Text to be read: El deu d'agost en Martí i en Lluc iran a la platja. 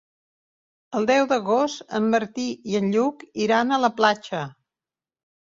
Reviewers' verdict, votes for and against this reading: accepted, 3, 0